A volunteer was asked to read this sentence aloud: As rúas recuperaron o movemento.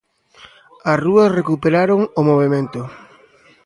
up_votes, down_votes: 2, 0